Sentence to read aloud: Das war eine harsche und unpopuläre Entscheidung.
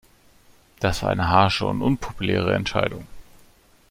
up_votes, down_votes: 2, 0